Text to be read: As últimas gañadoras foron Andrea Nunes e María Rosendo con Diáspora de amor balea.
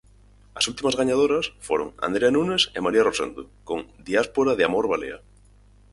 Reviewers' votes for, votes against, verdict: 4, 0, accepted